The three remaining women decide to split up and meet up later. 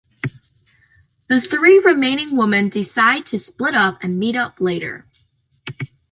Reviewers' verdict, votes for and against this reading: rejected, 1, 2